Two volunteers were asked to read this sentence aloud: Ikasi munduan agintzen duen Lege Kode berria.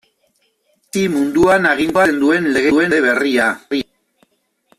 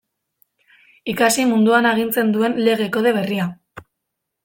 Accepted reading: second